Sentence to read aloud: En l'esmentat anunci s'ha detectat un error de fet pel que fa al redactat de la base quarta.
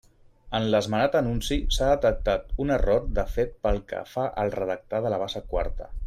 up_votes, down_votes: 0, 2